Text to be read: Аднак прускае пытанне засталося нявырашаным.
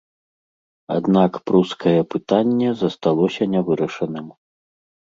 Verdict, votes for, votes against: accepted, 2, 0